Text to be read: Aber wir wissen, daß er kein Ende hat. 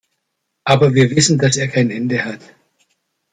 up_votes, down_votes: 2, 0